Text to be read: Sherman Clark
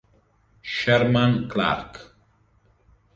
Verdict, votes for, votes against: accepted, 2, 0